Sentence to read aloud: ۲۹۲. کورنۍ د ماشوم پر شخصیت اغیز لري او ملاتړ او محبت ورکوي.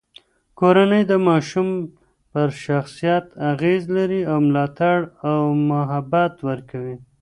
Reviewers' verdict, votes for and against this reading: rejected, 0, 2